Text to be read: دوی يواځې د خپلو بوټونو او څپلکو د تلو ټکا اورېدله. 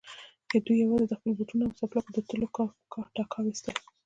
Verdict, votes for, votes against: accepted, 2, 0